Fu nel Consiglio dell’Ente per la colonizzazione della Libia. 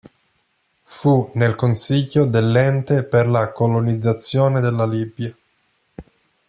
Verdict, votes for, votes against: accepted, 2, 0